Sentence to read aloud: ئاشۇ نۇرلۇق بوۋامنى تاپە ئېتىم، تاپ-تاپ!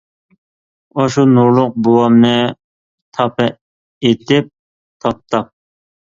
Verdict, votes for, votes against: rejected, 0, 2